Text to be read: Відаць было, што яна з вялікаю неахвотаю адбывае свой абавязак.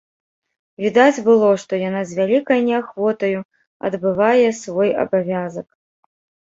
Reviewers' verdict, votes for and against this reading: rejected, 1, 2